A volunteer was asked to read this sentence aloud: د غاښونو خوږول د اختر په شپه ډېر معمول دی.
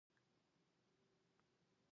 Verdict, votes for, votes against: rejected, 1, 3